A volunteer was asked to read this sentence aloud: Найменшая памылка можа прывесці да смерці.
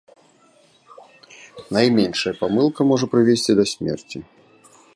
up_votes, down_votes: 2, 1